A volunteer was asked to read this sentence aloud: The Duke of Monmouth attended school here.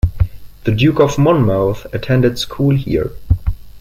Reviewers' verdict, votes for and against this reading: rejected, 0, 2